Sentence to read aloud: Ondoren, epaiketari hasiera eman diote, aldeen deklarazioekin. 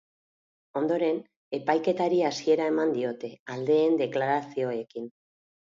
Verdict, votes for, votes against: accepted, 4, 0